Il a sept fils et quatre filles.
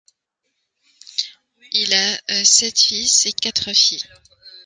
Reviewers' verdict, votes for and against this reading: accepted, 2, 0